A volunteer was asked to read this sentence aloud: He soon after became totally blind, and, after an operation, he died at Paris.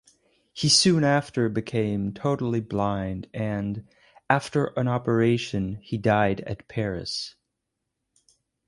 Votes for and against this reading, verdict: 0, 2, rejected